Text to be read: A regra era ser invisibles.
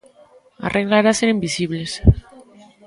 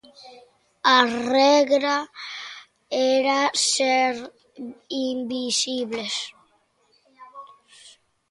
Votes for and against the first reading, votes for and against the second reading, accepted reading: 1, 2, 2, 0, second